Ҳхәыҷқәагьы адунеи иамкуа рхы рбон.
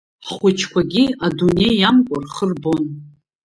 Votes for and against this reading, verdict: 1, 2, rejected